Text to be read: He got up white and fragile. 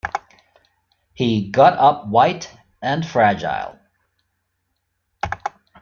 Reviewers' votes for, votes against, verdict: 2, 0, accepted